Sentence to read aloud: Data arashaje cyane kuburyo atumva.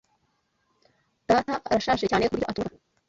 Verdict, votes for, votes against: rejected, 0, 2